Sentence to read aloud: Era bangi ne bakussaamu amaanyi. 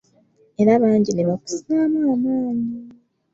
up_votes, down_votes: 1, 2